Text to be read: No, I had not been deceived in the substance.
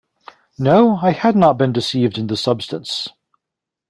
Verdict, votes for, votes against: accepted, 2, 0